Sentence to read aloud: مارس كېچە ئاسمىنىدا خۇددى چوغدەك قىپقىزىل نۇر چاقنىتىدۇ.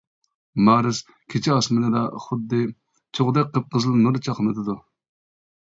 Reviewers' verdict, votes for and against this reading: rejected, 0, 2